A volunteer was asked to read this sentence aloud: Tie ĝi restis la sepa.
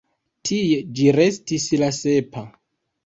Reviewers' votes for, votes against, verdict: 2, 0, accepted